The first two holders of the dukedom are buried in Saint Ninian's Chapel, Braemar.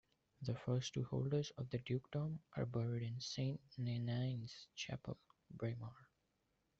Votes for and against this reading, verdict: 0, 2, rejected